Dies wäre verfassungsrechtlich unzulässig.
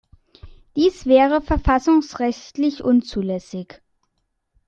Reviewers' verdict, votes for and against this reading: accepted, 2, 0